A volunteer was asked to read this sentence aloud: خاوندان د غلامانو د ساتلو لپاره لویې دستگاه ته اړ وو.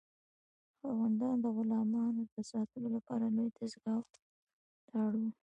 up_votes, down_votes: 2, 1